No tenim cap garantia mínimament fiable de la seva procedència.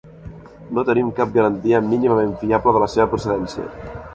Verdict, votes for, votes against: accepted, 3, 0